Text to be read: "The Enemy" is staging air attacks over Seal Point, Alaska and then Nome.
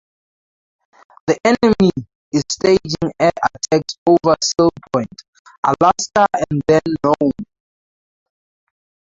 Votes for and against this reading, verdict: 0, 4, rejected